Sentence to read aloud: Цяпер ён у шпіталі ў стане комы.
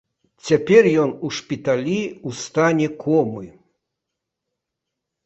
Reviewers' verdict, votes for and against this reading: accepted, 2, 0